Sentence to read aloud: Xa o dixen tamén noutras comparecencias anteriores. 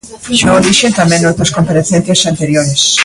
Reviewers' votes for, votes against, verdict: 1, 2, rejected